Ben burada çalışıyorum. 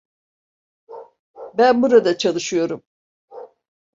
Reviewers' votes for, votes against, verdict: 2, 0, accepted